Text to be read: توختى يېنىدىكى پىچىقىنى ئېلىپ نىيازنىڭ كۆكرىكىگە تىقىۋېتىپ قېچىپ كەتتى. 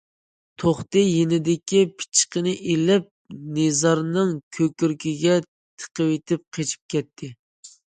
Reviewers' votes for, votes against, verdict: 0, 2, rejected